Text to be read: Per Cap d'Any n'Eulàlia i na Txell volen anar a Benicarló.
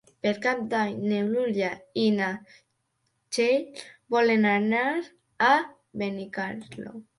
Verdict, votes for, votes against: rejected, 0, 2